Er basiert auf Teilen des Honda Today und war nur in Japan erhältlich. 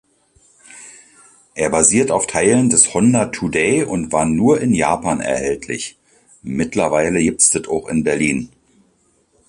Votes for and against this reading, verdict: 1, 3, rejected